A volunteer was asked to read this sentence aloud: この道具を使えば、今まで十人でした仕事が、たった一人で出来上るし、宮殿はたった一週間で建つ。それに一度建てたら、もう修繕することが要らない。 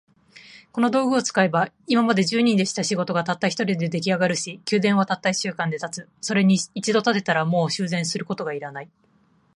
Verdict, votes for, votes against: accepted, 2, 0